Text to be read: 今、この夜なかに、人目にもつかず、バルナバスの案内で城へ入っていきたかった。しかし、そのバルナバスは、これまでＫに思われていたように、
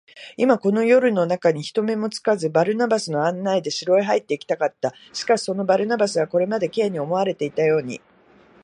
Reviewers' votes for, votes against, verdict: 3, 0, accepted